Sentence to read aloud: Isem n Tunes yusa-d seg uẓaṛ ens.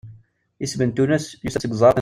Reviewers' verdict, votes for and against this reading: rejected, 0, 2